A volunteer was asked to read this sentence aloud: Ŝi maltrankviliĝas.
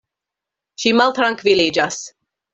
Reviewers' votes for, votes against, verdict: 2, 0, accepted